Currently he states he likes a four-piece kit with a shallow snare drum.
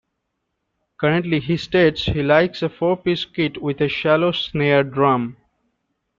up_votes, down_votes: 2, 0